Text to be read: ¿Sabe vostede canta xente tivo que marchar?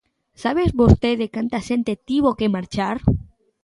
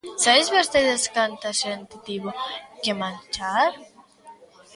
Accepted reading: first